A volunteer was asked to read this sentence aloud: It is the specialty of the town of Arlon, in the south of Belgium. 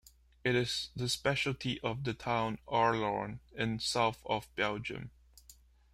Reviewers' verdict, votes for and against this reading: rejected, 0, 2